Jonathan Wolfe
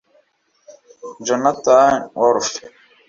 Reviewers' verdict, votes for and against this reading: accepted, 2, 0